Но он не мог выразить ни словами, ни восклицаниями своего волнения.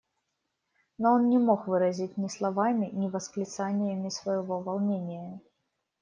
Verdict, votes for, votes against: accepted, 2, 0